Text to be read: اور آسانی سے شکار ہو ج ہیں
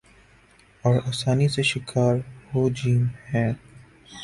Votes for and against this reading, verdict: 3, 0, accepted